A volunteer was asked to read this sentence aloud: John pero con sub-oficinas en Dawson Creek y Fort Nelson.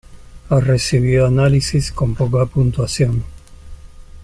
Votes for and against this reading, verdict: 0, 2, rejected